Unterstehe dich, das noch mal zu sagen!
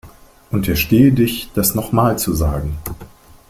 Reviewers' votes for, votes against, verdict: 2, 0, accepted